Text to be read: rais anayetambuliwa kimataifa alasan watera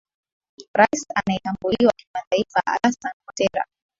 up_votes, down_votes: 2, 1